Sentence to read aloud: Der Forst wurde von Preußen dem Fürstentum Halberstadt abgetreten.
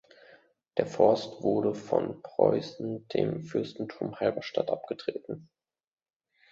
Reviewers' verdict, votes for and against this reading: accepted, 2, 0